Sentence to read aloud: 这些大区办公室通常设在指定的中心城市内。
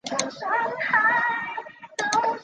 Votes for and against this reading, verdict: 0, 2, rejected